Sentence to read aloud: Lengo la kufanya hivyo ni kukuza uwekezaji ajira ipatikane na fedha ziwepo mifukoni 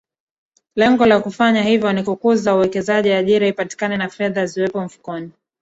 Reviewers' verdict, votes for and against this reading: rejected, 1, 2